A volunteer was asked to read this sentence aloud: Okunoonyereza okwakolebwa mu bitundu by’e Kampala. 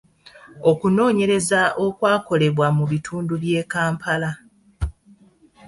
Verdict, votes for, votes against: accepted, 2, 0